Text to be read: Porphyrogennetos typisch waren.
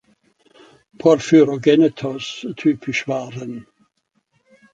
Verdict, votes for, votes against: accepted, 3, 0